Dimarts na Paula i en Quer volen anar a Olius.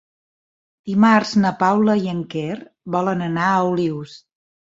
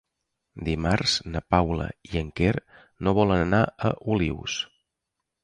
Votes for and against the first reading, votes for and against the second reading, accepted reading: 3, 0, 1, 2, first